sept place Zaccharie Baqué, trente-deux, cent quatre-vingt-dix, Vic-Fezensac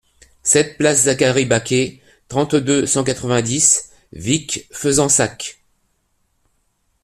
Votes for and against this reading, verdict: 2, 0, accepted